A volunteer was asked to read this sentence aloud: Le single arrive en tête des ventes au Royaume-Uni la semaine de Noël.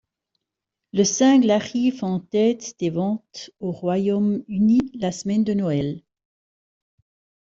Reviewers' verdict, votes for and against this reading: rejected, 0, 2